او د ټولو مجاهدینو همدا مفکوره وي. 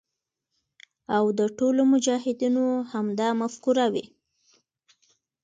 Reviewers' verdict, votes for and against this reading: accepted, 2, 0